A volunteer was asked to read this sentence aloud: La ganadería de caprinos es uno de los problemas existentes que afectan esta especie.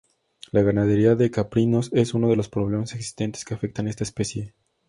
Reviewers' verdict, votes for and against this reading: accepted, 2, 0